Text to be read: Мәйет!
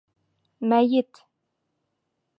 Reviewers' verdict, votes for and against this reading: accepted, 3, 0